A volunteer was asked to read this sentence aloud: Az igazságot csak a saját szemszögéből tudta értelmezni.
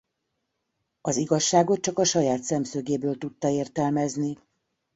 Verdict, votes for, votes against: accepted, 2, 0